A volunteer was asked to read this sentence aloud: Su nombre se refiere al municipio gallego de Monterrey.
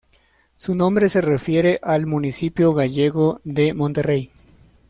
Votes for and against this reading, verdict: 2, 0, accepted